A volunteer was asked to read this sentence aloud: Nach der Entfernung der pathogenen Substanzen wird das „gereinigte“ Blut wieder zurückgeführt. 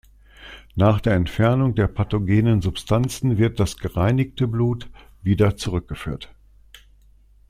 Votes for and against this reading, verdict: 2, 0, accepted